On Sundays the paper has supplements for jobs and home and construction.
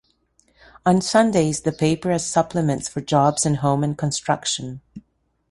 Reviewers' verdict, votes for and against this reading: accepted, 2, 0